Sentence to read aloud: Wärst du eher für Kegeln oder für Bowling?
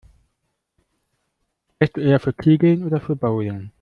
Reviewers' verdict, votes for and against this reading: rejected, 1, 2